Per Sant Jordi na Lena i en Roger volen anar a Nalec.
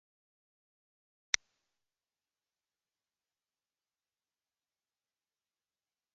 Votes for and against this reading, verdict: 0, 2, rejected